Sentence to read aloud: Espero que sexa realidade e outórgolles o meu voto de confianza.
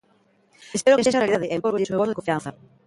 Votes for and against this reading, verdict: 0, 2, rejected